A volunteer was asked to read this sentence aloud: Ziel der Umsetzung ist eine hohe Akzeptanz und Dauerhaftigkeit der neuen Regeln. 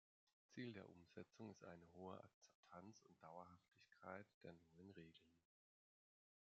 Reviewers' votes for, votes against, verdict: 1, 2, rejected